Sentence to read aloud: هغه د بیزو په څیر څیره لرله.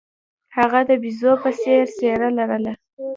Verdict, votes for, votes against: accepted, 2, 1